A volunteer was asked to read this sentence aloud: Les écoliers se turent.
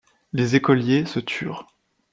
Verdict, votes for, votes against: accepted, 2, 0